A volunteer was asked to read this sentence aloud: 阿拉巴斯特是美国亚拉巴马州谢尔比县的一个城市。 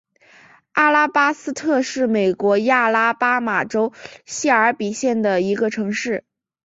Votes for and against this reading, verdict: 3, 0, accepted